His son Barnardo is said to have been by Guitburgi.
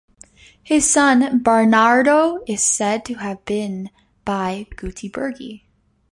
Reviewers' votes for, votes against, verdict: 1, 2, rejected